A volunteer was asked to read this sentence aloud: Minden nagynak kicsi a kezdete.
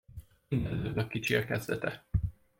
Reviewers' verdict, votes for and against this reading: rejected, 0, 2